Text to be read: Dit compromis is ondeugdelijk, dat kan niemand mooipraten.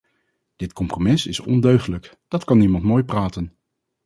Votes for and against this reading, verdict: 2, 2, rejected